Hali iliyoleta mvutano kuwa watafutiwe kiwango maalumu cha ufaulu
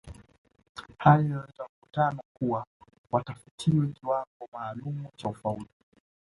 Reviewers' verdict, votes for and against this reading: accepted, 2, 1